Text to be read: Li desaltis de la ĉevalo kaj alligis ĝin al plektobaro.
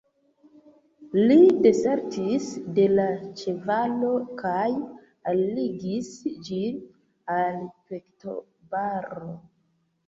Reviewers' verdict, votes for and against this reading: rejected, 1, 2